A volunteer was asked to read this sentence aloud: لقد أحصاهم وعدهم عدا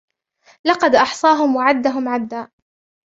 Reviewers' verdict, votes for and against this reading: accepted, 2, 0